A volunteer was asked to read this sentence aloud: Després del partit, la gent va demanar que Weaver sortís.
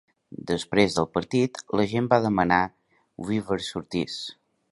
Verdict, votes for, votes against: rejected, 0, 2